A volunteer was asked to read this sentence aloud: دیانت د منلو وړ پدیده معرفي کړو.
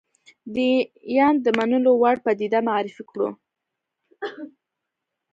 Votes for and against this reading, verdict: 2, 0, accepted